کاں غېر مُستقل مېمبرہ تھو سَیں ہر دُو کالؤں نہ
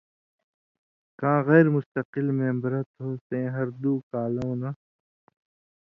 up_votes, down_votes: 2, 0